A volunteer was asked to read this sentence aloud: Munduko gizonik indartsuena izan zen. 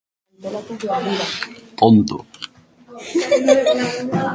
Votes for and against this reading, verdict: 0, 2, rejected